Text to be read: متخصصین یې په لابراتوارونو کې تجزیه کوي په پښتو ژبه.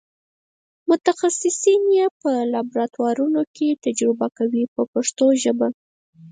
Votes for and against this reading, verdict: 2, 4, rejected